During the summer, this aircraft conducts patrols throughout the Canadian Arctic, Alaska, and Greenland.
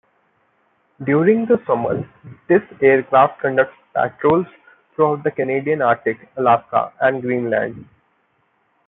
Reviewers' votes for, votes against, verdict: 1, 2, rejected